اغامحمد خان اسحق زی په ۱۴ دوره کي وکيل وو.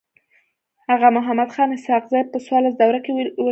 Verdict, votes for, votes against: rejected, 0, 2